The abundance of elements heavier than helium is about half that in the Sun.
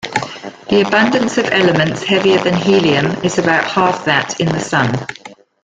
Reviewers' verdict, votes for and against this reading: rejected, 2, 3